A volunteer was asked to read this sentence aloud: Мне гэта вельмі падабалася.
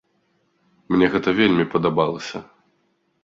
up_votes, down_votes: 2, 0